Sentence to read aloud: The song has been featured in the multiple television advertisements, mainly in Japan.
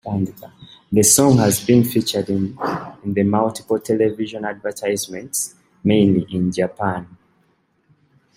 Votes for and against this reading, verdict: 1, 2, rejected